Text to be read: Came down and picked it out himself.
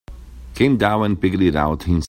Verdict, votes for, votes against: rejected, 0, 2